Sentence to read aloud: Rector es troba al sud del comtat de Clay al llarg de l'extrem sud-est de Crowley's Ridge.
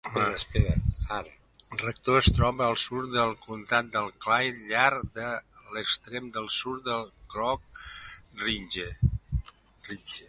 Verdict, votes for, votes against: rejected, 1, 2